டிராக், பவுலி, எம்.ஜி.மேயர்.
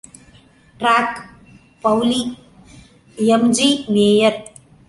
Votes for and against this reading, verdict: 2, 0, accepted